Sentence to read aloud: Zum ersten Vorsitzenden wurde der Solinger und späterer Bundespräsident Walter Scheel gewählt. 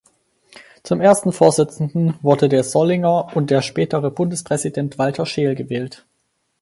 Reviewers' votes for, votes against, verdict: 2, 4, rejected